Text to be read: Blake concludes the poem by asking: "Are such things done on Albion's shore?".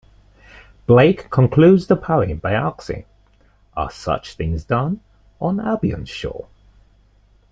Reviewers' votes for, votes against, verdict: 2, 0, accepted